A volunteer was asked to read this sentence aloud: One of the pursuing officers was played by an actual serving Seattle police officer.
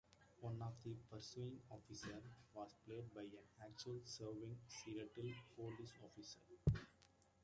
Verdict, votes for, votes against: rejected, 1, 2